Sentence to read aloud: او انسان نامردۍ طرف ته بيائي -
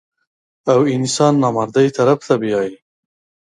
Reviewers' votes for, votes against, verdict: 1, 2, rejected